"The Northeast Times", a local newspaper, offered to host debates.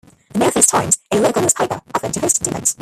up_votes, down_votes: 0, 3